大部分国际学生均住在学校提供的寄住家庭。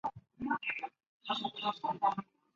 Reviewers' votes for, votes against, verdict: 1, 2, rejected